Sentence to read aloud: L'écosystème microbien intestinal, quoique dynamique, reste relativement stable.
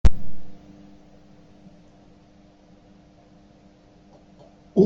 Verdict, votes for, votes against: rejected, 0, 2